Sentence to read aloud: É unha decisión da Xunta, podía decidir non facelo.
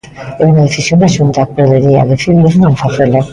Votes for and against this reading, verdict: 0, 2, rejected